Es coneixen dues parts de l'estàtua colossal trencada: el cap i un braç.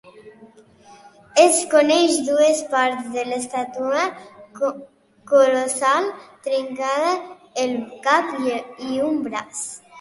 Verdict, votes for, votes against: rejected, 1, 2